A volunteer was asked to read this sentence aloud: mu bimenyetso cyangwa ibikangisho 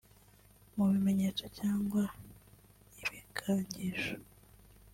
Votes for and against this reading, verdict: 1, 2, rejected